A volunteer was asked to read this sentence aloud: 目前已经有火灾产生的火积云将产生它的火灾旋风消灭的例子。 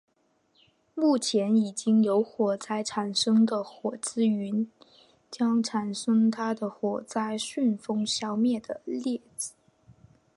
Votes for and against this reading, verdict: 2, 0, accepted